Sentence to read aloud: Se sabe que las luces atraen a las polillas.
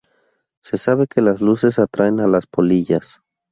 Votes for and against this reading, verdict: 2, 0, accepted